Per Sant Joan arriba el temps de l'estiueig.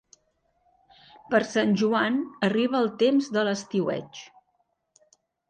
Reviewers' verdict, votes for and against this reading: accepted, 3, 0